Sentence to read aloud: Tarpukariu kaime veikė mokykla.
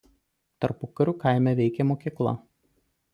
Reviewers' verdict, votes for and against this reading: accepted, 2, 0